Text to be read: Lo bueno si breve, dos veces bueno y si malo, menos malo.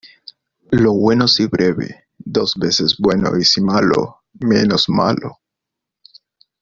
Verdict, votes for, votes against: accepted, 2, 0